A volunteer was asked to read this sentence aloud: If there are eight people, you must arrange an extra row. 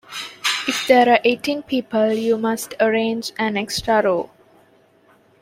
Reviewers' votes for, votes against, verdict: 0, 2, rejected